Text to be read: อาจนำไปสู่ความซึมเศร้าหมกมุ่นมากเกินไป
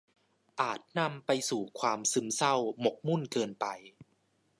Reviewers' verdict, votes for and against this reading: rejected, 0, 2